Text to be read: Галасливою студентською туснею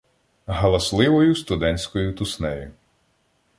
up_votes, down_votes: 2, 0